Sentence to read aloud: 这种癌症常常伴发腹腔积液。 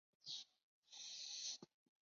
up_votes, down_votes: 0, 2